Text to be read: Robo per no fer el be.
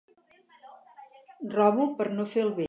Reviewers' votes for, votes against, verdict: 0, 2, rejected